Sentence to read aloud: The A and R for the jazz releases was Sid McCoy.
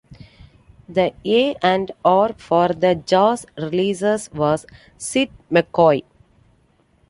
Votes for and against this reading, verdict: 2, 0, accepted